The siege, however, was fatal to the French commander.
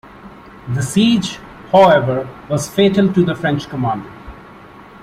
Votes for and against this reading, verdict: 2, 0, accepted